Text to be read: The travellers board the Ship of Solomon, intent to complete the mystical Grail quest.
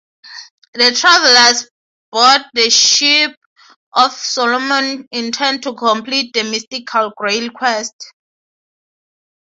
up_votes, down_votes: 3, 0